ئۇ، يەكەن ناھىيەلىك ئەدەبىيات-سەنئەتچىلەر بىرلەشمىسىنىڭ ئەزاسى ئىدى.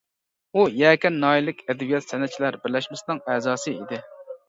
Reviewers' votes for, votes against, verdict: 2, 0, accepted